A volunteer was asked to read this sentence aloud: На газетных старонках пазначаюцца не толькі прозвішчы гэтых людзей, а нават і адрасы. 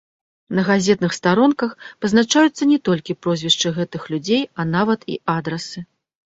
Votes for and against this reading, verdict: 2, 1, accepted